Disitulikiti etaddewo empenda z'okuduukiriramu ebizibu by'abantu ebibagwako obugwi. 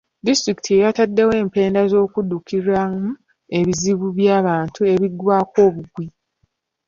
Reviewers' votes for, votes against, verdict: 0, 2, rejected